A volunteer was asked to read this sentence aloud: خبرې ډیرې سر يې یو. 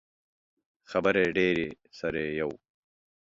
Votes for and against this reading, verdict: 2, 0, accepted